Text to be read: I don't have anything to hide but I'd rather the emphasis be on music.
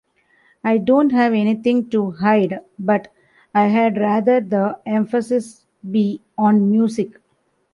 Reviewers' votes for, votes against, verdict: 0, 2, rejected